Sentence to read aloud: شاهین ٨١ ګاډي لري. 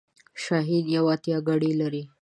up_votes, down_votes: 0, 2